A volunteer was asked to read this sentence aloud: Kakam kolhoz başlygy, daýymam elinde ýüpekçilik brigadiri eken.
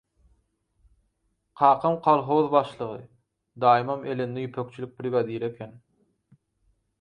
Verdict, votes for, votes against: accepted, 4, 0